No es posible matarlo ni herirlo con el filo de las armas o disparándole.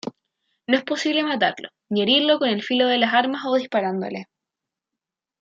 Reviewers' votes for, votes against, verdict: 0, 2, rejected